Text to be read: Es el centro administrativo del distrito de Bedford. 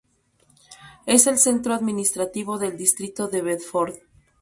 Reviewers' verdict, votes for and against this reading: accepted, 4, 0